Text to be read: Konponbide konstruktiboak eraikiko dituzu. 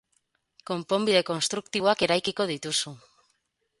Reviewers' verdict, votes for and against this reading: accepted, 4, 0